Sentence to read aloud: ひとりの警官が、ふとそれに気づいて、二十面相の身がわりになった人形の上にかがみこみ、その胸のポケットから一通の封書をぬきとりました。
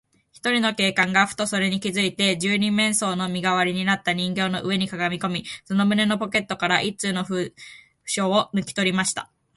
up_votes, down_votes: 2, 1